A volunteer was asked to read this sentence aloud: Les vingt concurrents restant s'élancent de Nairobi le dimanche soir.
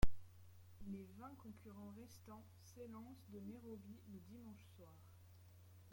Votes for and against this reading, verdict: 0, 2, rejected